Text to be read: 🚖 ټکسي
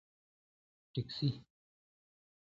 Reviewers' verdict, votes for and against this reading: rejected, 1, 2